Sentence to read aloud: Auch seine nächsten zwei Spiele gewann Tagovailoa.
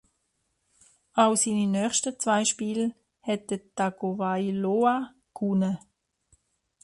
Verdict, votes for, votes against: rejected, 0, 2